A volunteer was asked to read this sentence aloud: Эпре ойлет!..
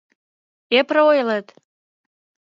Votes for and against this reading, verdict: 2, 0, accepted